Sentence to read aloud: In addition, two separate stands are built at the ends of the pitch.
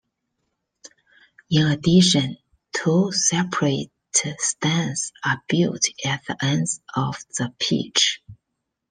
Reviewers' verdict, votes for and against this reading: accepted, 2, 1